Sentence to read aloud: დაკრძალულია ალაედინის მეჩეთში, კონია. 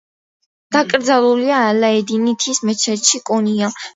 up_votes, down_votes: 1, 2